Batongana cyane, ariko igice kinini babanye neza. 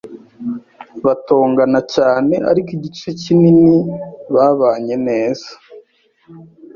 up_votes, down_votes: 2, 0